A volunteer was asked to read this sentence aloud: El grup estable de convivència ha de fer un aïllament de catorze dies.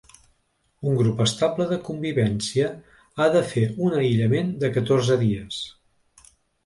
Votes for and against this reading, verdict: 1, 2, rejected